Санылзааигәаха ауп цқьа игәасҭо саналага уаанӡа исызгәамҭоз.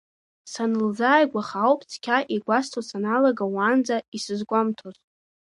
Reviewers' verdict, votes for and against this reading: accepted, 2, 0